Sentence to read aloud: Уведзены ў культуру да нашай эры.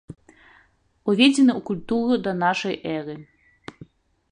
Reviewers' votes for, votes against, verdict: 1, 2, rejected